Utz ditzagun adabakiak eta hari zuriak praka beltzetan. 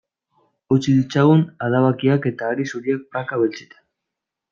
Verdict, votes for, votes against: rejected, 0, 2